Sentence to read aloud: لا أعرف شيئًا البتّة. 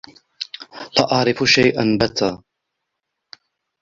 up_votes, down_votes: 1, 2